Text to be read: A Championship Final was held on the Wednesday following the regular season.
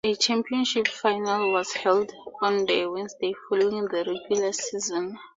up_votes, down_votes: 4, 0